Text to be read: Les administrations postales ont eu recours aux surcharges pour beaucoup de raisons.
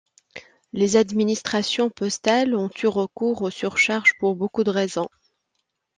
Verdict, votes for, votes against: accepted, 2, 0